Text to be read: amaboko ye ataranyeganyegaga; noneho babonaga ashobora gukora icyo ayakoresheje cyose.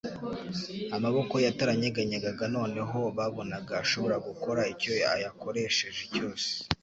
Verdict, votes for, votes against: accepted, 3, 0